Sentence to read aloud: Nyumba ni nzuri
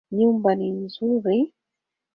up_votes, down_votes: 2, 1